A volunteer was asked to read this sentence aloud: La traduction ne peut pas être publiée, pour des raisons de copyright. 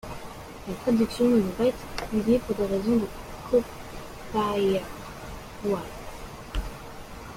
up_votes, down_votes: 0, 2